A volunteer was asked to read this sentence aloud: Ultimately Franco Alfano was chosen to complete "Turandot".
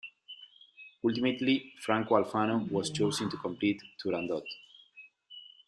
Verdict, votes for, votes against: accepted, 2, 0